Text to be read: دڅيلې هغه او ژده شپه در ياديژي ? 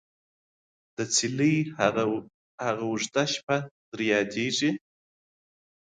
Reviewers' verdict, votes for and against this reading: accepted, 2, 0